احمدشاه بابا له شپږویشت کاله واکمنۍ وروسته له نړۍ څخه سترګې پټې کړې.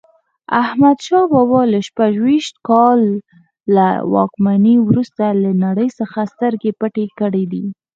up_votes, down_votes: 0, 4